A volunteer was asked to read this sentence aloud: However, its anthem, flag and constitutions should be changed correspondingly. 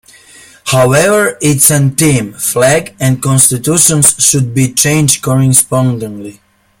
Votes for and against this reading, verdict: 2, 0, accepted